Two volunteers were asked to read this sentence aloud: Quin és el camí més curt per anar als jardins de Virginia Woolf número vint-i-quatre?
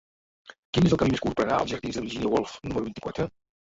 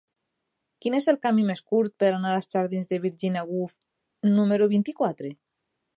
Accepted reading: second